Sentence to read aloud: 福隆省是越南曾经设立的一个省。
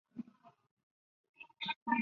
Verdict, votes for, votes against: rejected, 1, 2